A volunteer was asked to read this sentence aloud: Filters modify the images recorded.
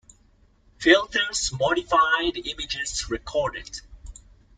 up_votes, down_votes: 2, 0